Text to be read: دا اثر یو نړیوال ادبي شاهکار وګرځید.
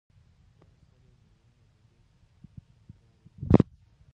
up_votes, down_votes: 1, 2